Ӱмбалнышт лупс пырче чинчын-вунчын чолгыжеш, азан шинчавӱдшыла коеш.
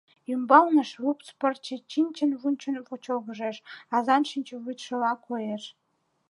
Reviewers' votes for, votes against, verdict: 1, 2, rejected